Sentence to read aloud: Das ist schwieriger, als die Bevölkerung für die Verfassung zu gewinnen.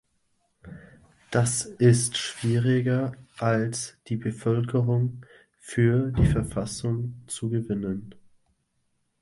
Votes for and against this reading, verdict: 2, 0, accepted